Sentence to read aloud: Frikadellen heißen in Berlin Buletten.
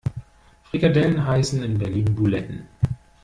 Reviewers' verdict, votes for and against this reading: rejected, 1, 2